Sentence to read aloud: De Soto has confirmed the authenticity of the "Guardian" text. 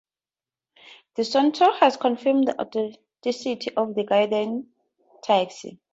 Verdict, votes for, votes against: rejected, 0, 4